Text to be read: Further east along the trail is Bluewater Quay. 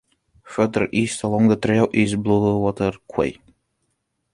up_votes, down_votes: 2, 0